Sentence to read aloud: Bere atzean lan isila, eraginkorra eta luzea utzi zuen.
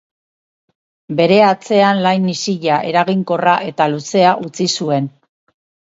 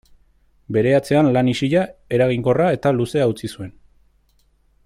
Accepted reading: second